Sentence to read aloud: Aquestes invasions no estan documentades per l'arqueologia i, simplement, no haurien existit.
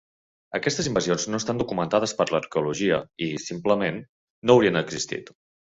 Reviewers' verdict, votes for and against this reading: rejected, 1, 2